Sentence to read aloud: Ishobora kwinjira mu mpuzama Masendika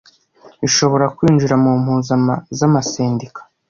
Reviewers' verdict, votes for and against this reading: rejected, 1, 2